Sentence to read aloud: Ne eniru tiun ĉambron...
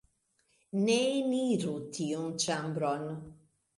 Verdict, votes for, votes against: accepted, 2, 0